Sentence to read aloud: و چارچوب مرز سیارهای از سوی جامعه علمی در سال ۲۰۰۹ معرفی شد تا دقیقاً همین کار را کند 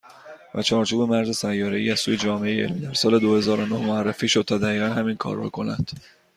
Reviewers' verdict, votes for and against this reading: rejected, 0, 2